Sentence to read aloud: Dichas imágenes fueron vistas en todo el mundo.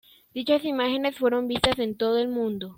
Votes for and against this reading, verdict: 2, 1, accepted